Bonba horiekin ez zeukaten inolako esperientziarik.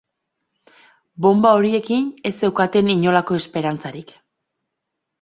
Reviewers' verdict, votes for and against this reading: rejected, 0, 2